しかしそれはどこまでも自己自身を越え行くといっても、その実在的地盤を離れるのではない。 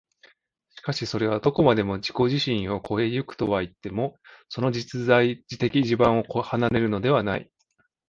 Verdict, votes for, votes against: rejected, 0, 2